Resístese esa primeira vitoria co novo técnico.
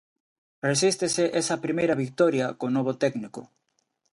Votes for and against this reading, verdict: 2, 0, accepted